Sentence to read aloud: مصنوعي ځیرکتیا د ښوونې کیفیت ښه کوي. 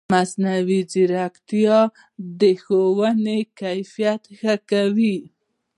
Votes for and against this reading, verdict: 0, 2, rejected